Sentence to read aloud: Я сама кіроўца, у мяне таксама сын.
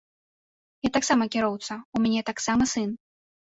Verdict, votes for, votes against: rejected, 0, 2